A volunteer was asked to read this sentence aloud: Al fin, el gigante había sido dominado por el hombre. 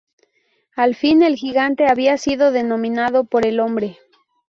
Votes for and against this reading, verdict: 0, 2, rejected